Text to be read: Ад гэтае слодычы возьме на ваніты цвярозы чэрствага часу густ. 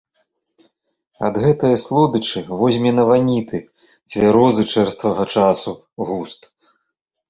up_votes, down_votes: 2, 0